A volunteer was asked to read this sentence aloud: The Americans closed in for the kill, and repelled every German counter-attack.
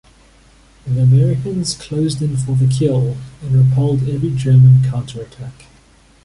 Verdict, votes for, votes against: accepted, 2, 1